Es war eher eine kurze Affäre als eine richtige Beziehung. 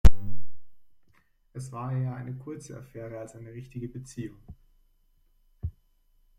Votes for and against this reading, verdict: 2, 0, accepted